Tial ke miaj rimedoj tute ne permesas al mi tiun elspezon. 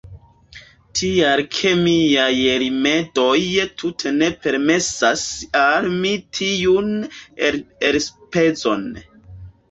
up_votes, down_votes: 0, 2